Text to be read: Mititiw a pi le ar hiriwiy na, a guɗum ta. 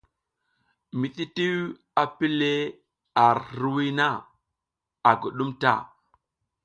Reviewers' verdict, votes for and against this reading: accepted, 2, 0